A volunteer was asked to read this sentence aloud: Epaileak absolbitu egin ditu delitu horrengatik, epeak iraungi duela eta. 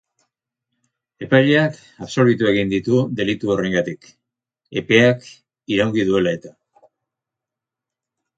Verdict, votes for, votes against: rejected, 2, 2